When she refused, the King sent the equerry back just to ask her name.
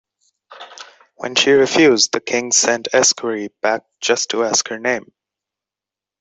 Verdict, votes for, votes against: rejected, 0, 2